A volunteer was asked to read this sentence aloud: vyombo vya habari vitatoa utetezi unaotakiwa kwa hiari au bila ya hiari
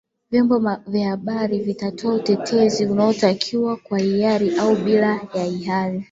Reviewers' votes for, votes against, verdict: 0, 3, rejected